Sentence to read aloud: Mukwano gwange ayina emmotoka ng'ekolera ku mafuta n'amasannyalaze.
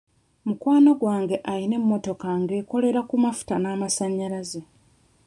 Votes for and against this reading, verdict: 2, 1, accepted